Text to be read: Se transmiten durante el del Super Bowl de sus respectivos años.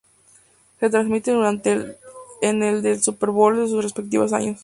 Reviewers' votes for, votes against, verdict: 0, 2, rejected